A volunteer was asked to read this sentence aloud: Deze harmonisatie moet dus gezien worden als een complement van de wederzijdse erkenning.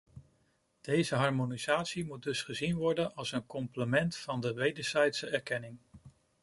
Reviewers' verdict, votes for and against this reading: accepted, 2, 0